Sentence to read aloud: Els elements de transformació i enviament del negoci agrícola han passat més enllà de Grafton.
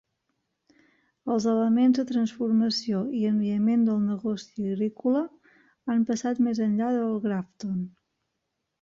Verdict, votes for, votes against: rejected, 0, 2